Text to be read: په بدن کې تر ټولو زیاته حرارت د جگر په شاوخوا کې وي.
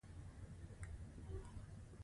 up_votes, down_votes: 2, 0